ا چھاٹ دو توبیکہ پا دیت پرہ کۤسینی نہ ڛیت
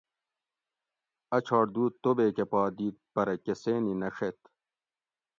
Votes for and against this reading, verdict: 2, 0, accepted